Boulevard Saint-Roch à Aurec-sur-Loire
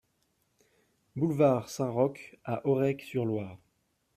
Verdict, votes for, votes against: accepted, 2, 0